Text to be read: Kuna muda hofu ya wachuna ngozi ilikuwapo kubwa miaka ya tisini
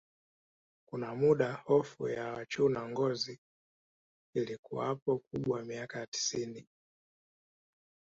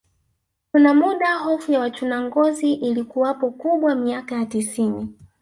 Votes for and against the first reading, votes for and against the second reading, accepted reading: 2, 0, 1, 2, first